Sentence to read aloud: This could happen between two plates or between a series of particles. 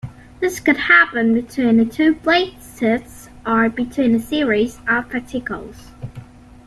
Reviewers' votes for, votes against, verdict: 1, 2, rejected